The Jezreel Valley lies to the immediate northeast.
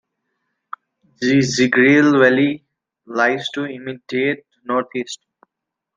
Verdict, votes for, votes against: rejected, 0, 2